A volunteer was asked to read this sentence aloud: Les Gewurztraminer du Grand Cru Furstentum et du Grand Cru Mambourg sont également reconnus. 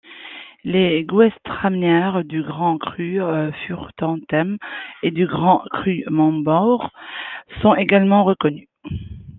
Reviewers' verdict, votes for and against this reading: rejected, 0, 2